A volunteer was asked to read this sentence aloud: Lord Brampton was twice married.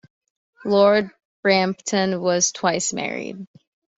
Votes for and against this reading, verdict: 2, 0, accepted